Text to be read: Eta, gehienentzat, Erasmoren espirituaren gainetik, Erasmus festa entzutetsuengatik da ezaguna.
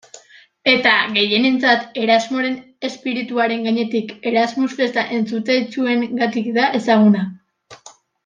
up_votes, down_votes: 0, 2